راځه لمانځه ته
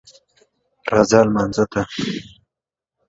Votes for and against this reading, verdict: 2, 0, accepted